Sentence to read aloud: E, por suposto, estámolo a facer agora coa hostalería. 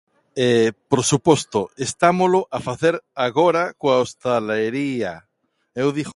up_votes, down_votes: 0, 2